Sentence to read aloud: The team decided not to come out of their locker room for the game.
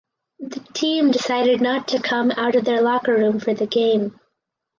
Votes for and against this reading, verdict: 4, 0, accepted